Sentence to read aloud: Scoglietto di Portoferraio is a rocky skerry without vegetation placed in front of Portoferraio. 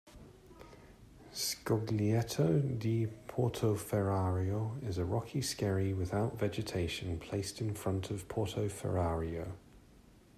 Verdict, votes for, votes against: rejected, 0, 2